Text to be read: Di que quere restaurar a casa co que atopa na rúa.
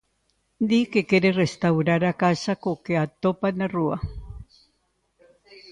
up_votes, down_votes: 2, 0